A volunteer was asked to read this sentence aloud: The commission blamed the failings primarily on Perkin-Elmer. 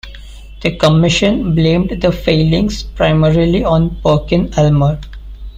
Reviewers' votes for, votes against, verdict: 2, 1, accepted